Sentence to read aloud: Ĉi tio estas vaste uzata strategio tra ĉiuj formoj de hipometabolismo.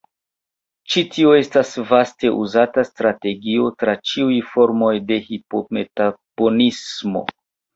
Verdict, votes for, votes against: rejected, 1, 2